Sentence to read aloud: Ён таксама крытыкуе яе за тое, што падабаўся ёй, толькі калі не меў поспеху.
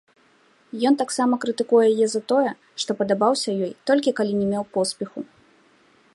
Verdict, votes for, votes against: accepted, 2, 0